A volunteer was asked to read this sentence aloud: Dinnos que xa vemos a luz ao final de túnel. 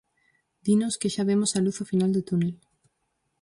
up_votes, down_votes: 2, 2